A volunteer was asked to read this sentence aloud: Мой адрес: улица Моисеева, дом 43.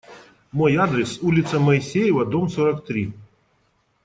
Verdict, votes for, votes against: rejected, 0, 2